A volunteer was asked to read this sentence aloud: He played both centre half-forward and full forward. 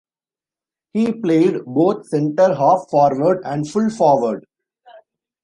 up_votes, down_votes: 1, 2